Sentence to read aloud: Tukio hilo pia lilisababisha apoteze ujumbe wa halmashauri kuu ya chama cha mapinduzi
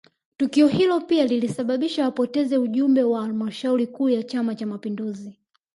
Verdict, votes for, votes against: accepted, 2, 0